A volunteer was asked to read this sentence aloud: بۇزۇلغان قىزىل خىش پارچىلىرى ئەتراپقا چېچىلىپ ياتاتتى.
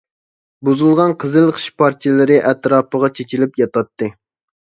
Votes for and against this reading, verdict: 0, 2, rejected